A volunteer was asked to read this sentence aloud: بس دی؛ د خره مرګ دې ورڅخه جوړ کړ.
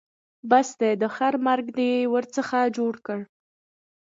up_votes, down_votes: 2, 0